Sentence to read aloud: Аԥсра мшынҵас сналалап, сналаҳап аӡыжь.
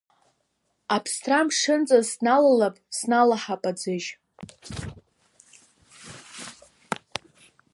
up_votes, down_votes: 0, 2